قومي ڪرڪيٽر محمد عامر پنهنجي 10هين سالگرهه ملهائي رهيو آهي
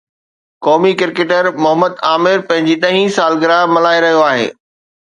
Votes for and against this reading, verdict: 0, 2, rejected